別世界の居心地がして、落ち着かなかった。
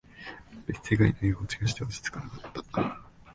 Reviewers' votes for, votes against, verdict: 1, 2, rejected